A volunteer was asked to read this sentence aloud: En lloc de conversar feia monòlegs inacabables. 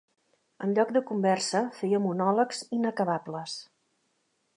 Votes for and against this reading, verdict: 1, 2, rejected